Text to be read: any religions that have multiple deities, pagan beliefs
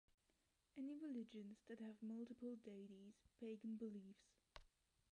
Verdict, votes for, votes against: rejected, 0, 2